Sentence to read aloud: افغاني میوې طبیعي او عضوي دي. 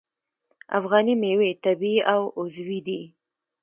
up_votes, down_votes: 2, 0